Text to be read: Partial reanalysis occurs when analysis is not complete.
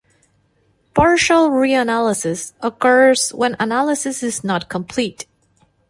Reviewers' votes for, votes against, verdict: 2, 0, accepted